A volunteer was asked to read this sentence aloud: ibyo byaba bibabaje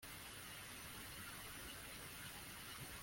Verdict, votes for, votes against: rejected, 0, 2